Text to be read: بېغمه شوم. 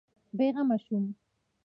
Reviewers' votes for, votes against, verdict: 2, 0, accepted